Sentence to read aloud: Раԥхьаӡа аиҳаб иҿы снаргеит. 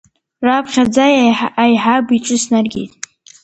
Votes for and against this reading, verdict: 1, 2, rejected